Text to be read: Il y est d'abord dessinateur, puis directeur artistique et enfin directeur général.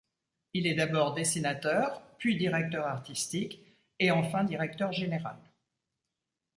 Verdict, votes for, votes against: rejected, 0, 2